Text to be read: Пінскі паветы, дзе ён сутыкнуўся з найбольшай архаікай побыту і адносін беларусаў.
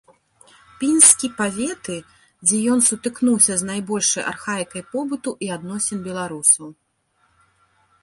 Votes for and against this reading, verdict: 2, 0, accepted